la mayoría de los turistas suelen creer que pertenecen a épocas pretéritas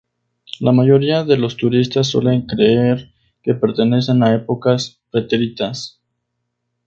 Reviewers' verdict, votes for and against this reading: rejected, 0, 2